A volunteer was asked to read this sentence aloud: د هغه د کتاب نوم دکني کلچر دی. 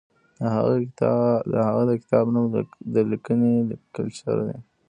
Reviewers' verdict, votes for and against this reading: rejected, 1, 2